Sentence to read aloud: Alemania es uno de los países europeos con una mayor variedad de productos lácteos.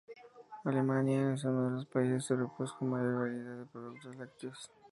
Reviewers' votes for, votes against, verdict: 0, 2, rejected